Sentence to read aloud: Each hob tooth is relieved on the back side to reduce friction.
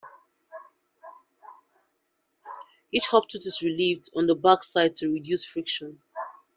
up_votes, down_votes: 1, 2